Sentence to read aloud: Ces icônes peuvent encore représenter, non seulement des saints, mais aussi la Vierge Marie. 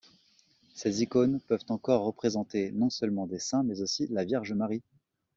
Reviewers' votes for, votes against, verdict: 2, 0, accepted